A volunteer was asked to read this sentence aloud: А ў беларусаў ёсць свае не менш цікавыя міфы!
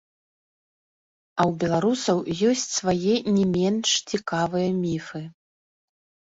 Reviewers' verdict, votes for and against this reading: rejected, 1, 2